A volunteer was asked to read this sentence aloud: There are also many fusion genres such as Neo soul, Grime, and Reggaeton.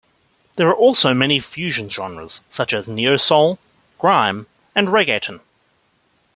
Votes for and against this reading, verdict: 2, 0, accepted